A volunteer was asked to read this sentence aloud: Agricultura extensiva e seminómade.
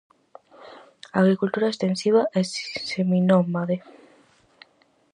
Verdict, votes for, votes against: rejected, 0, 4